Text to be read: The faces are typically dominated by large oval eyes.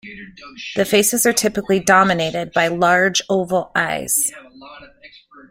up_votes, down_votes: 2, 0